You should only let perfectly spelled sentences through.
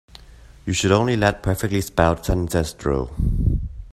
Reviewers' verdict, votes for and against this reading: rejected, 0, 2